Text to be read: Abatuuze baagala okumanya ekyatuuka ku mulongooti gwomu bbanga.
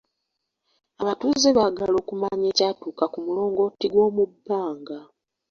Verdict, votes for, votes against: rejected, 1, 2